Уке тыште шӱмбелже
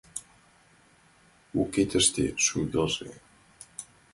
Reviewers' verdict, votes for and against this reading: rejected, 1, 2